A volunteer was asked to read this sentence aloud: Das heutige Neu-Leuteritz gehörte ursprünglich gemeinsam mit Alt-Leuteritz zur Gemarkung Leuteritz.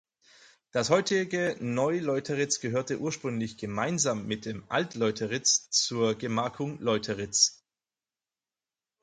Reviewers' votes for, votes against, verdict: 0, 4, rejected